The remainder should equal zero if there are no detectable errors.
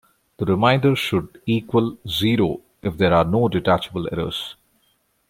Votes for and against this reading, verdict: 2, 0, accepted